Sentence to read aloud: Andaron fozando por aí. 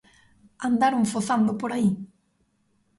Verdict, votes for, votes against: accepted, 2, 0